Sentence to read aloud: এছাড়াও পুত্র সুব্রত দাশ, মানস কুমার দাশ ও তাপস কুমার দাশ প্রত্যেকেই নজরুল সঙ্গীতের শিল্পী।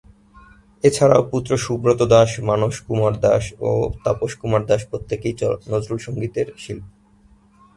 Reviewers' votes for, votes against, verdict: 2, 0, accepted